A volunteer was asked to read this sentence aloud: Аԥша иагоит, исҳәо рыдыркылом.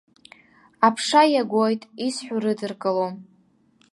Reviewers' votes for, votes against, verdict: 2, 0, accepted